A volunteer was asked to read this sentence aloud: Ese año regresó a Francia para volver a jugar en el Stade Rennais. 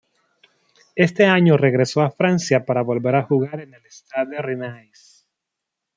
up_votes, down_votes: 1, 2